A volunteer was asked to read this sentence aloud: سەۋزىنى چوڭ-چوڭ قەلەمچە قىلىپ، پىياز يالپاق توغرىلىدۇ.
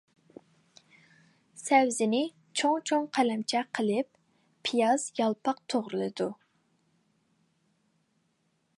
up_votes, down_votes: 2, 0